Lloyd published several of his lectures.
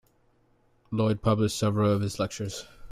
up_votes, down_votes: 2, 0